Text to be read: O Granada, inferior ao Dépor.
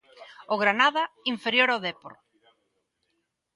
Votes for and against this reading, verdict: 2, 1, accepted